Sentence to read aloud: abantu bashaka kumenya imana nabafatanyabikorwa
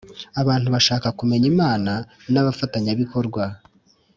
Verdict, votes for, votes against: accepted, 3, 0